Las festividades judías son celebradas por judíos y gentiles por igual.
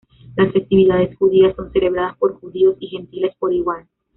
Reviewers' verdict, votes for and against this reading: rejected, 0, 2